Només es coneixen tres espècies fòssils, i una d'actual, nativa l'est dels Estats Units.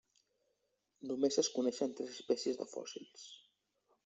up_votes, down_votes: 0, 2